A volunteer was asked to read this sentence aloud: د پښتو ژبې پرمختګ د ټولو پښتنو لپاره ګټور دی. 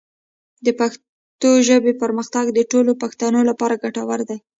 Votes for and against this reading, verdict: 1, 2, rejected